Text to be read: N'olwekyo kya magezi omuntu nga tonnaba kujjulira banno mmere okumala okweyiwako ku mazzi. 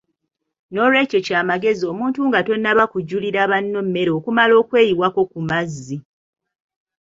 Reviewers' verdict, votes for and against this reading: rejected, 1, 2